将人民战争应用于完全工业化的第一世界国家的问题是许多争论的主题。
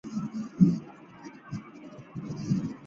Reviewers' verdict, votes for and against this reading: rejected, 0, 2